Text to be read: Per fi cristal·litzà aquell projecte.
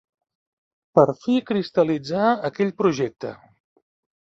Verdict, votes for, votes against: accepted, 3, 1